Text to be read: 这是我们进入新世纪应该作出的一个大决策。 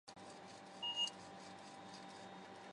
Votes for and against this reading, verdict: 0, 2, rejected